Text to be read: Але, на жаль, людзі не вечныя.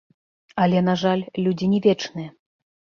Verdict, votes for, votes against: rejected, 0, 2